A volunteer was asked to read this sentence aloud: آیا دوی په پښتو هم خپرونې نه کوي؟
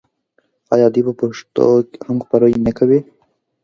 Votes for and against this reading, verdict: 2, 0, accepted